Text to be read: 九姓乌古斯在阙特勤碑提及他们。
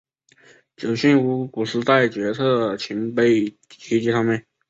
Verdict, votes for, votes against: rejected, 1, 2